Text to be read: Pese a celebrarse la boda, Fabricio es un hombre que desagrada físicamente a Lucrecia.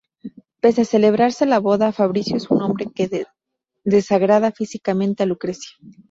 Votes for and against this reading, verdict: 0, 2, rejected